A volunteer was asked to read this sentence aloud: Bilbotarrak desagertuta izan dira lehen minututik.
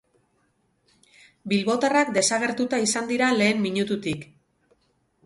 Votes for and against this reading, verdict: 2, 2, rejected